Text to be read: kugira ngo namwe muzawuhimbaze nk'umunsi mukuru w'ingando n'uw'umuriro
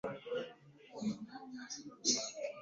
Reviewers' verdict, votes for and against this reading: rejected, 0, 2